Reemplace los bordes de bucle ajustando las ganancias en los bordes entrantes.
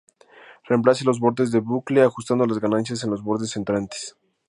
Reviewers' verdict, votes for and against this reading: accepted, 2, 0